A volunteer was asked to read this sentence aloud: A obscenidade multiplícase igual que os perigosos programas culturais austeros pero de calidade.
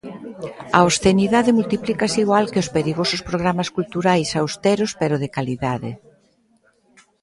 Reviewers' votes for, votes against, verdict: 1, 2, rejected